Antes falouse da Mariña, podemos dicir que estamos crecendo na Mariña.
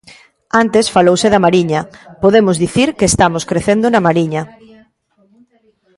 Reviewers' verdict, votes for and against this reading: rejected, 0, 2